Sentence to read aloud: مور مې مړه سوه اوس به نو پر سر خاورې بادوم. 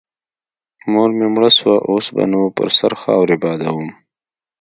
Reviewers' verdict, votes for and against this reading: accepted, 2, 0